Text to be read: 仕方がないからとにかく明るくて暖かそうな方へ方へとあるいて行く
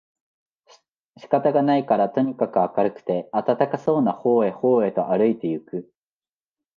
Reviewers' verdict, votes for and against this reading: rejected, 0, 2